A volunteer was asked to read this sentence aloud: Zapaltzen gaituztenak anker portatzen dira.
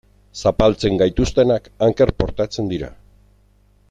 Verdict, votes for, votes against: accepted, 2, 0